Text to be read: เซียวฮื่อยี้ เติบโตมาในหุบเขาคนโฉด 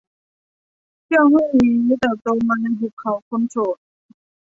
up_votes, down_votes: 1, 2